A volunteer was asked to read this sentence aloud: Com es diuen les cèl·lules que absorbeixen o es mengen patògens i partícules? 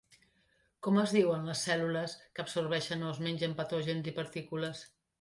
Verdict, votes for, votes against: accepted, 2, 0